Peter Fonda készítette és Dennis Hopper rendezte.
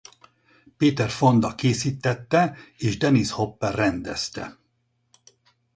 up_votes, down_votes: 4, 0